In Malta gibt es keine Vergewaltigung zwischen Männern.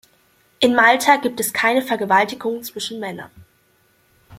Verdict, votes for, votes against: accepted, 2, 0